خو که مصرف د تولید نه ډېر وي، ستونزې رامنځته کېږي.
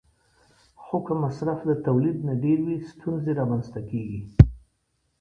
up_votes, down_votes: 2, 0